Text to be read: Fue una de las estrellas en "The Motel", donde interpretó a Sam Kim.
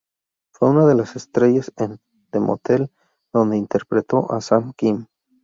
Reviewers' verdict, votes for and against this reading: rejected, 2, 2